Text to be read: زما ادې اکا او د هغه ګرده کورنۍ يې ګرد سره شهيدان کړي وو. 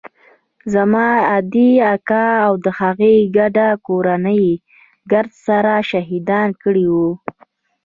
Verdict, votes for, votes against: accepted, 3, 0